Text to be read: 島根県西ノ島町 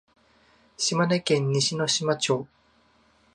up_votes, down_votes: 2, 0